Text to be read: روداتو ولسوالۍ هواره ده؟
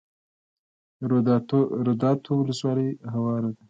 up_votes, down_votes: 2, 0